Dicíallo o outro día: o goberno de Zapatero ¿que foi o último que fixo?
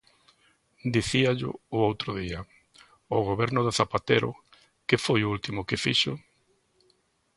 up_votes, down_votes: 2, 0